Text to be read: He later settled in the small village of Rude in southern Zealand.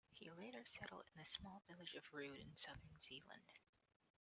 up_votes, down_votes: 0, 2